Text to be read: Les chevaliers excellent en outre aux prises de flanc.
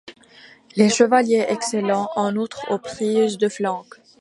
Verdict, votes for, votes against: rejected, 1, 3